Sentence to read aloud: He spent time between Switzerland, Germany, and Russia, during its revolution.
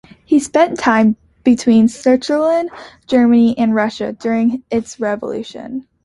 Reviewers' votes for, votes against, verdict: 2, 1, accepted